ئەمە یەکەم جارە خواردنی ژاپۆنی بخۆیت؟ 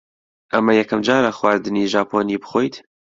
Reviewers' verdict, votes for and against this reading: accepted, 2, 0